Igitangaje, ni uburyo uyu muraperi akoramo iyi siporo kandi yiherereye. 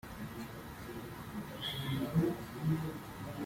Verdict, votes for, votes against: rejected, 1, 3